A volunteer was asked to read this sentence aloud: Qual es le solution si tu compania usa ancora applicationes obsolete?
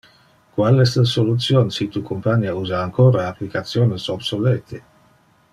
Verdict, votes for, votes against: accepted, 2, 0